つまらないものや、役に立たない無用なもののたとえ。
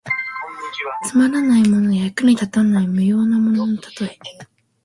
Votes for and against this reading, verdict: 2, 0, accepted